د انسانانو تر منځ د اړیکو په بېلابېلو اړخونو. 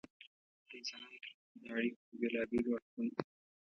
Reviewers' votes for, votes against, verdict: 0, 2, rejected